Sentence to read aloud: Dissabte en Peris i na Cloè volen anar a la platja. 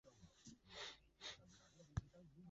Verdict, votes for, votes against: rejected, 0, 3